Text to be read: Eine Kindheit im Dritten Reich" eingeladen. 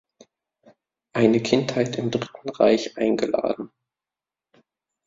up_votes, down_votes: 2, 0